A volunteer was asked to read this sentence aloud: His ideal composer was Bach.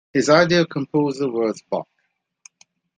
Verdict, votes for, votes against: accepted, 2, 0